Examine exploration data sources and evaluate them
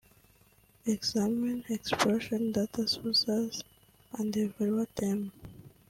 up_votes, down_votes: 1, 2